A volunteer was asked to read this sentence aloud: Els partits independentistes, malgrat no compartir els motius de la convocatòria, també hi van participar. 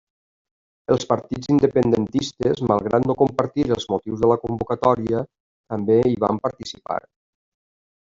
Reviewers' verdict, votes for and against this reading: rejected, 1, 2